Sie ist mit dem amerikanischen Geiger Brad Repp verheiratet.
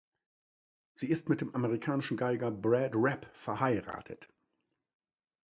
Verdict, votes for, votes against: accepted, 2, 0